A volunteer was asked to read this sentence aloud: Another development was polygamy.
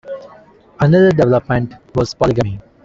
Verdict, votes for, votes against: accepted, 2, 0